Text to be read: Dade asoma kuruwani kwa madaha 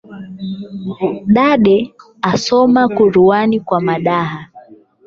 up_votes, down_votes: 0, 8